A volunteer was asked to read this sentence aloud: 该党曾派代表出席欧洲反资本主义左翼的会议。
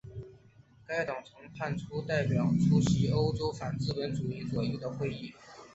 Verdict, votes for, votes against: accepted, 2, 1